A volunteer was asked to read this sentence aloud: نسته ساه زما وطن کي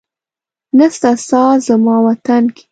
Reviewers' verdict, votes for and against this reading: accepted, 2, 0